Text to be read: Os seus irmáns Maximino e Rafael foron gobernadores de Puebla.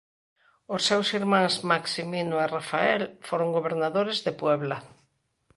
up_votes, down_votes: 2, 0